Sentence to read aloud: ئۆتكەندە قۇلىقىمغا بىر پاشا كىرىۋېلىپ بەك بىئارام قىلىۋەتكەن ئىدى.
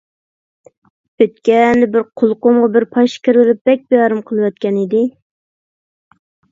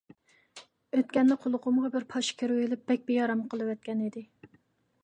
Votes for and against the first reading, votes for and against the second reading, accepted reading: 1, 2, 2, 0, second